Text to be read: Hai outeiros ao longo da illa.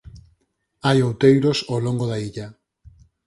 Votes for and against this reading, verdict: 4, 0, accepted